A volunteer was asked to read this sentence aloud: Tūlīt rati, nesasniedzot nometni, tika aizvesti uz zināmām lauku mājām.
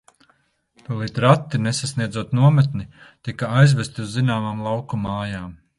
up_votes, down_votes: 2, 0